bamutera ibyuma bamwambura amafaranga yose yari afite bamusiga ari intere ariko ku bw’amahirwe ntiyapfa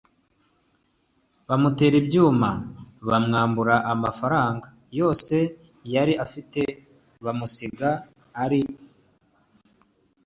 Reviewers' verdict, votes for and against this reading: rejected, 0, 2